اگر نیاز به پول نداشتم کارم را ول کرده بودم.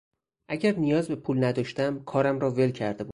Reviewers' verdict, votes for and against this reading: rejected, 0, 4